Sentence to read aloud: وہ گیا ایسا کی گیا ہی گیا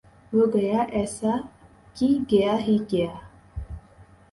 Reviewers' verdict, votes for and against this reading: accepted, 5, 0